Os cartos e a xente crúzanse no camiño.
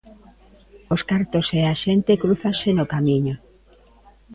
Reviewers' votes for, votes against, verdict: 2, 0, accepted